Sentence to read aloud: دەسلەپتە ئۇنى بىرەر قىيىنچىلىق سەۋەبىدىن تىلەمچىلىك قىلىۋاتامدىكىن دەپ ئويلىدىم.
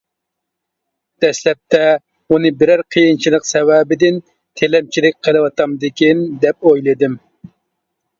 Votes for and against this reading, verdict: 3, 0, accepted